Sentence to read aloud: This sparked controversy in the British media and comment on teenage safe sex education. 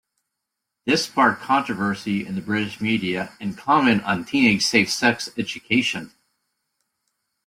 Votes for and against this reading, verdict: 2, 0, accepted